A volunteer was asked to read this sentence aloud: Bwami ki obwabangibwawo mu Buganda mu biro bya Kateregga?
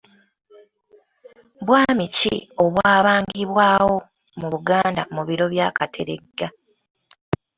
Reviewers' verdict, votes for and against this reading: accepted, 2, 0